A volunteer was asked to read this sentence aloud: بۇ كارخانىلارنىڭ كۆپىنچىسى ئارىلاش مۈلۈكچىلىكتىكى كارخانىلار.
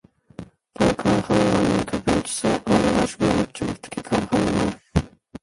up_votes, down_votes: 0, 2